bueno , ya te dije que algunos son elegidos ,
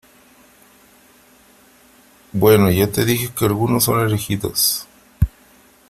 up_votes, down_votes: 3, 0